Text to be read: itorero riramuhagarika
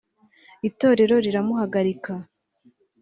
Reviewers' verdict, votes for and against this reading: accepted, 2, 0